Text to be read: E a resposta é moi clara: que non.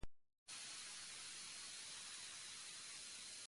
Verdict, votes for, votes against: rejected, 0, 2